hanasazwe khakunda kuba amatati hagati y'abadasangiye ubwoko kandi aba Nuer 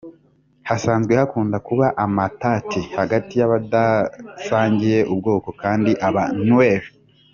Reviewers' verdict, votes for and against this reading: rejected, 1, 2